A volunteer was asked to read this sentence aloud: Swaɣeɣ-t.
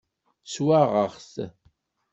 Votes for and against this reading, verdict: 2, 0, accepted